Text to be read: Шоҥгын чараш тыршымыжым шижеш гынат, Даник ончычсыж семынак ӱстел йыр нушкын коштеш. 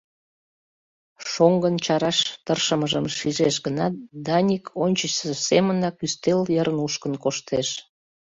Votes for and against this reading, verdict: 0, 2, rejected